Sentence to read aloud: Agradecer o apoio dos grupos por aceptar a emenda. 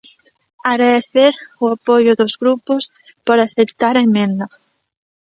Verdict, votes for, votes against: rejected, 1, 2